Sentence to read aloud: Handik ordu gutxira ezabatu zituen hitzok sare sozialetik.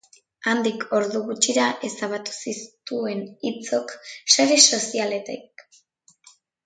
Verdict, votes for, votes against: rejected, 1, 2